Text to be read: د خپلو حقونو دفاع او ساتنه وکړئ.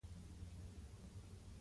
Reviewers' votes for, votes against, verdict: 0, 2, rejected